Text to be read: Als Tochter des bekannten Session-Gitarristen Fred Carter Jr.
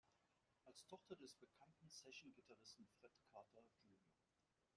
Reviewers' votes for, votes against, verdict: 1, 2, rejected